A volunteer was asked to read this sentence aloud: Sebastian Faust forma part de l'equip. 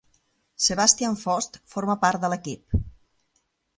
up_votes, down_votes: 2, 0